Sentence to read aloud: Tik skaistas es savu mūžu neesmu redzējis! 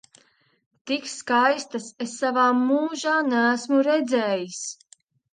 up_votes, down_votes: 0, 2